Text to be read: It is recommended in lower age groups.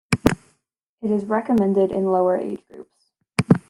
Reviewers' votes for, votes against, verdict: 2, 0, accepted